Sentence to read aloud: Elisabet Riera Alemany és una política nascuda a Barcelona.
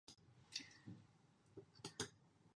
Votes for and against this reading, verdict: 0, 2, rejected